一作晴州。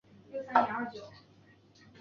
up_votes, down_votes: 0, 4